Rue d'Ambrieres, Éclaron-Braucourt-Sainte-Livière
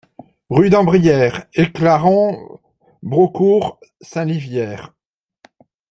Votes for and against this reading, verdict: 0, 2, rejected